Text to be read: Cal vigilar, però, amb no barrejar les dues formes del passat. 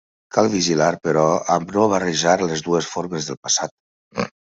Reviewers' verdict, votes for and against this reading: accepted, 2, 0